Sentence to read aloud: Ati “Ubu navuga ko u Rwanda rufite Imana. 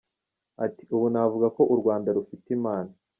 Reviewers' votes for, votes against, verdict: 2, 0, accepted